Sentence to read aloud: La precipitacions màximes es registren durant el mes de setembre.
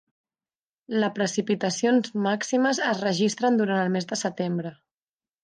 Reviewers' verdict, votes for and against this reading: accepted, 4, 0